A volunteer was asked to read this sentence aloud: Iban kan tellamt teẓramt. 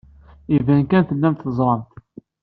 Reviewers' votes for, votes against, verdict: 2, 0, accepted